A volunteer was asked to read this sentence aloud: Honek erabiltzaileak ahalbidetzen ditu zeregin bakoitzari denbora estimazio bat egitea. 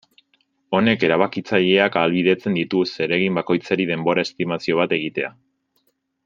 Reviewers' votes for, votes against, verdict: 0, 2, rejected